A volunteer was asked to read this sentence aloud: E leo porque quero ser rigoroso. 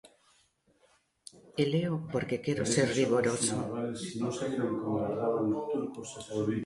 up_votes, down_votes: 0, 2